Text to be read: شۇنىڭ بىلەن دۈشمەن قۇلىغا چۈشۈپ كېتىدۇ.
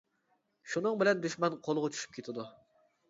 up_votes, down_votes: 2, 0